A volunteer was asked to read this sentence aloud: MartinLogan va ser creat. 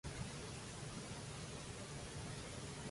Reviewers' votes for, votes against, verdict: 0, 2, rejected